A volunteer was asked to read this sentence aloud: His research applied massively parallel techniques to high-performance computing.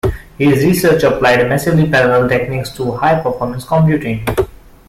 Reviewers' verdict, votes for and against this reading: accepted, 2, 0